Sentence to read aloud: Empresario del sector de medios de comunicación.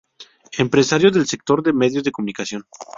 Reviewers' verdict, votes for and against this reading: accepted, 2, 0